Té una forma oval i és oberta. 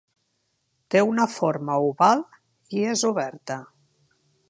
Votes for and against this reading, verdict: 4, 0, accepted